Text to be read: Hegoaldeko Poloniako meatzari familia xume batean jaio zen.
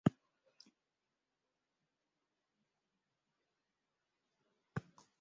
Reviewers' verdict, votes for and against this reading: rejected, 0, 3